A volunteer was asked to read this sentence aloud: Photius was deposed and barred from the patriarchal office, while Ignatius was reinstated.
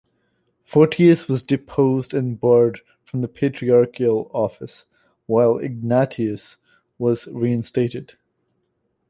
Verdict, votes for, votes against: rejected, 1, 2